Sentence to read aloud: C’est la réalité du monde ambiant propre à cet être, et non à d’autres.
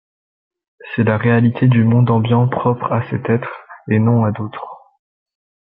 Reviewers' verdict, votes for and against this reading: accepted, 2, 0